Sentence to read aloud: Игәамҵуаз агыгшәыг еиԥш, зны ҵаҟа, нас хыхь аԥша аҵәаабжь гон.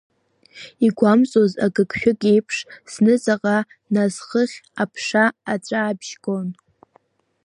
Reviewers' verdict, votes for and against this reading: accepted, 2, 1